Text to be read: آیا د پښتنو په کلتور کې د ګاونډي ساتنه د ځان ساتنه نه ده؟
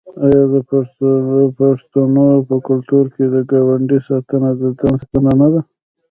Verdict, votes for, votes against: rejected, 0, 2